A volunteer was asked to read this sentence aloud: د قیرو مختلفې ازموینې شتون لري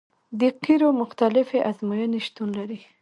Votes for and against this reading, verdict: 0, 2, rejected